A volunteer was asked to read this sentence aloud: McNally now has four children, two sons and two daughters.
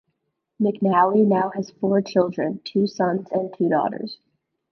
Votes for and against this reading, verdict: 2, 0, accepted